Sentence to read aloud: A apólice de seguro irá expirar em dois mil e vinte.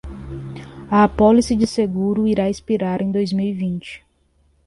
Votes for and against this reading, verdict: 2, 0, accepted